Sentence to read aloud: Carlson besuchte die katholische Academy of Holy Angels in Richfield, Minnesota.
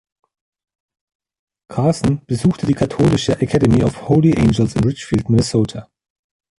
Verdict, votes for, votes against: rejected, 1, 2